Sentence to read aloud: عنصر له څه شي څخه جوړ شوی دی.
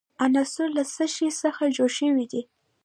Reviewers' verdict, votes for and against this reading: rejected, 1, 2